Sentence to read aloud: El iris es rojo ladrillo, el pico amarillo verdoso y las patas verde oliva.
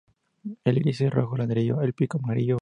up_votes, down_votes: 0, 2